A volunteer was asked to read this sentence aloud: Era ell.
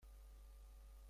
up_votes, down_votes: 0, 2